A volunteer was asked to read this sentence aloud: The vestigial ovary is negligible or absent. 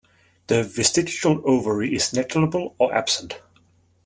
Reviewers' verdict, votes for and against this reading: accepted, 2, 0